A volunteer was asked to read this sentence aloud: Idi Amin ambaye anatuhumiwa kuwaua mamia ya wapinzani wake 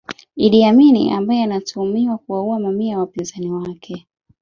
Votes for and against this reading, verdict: 0, 2, rejected